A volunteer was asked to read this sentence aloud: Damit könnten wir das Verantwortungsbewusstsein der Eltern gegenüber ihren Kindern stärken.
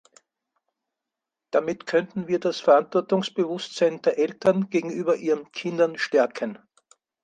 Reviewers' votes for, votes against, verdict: 4, 0, accepted